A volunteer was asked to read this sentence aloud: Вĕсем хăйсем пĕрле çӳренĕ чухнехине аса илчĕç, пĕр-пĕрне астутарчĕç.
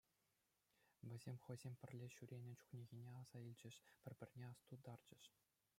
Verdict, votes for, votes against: accepted, 2, 0